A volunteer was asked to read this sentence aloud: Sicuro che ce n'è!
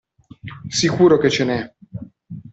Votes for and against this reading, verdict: 2, 0, accepted